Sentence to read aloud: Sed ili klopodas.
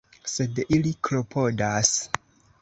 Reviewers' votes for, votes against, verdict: 3, 0, accepted